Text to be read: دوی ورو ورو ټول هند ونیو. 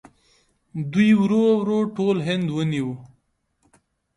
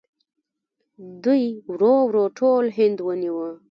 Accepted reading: first